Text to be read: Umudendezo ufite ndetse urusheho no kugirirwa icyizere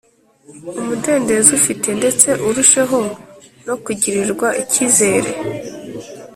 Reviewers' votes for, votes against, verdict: 3, 0, accepted